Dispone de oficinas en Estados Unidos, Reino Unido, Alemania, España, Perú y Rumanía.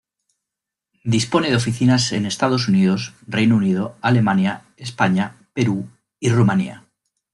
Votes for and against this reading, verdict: 2, 0, accepted